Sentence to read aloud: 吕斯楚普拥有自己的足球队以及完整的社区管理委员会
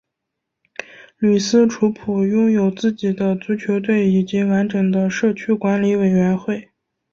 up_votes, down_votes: 3, 0